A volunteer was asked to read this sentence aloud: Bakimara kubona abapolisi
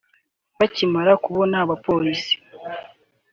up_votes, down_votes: 2, 0